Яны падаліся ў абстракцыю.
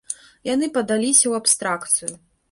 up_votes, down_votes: 3, 1